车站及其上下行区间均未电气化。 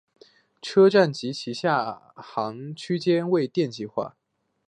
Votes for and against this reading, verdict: 3, 1, accepted